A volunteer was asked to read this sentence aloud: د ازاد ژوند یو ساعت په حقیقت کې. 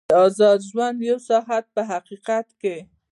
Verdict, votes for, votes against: accepted, 2, 0